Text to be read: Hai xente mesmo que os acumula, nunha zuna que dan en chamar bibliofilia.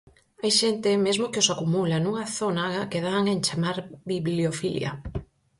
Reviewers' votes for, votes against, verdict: 2, 2, rejected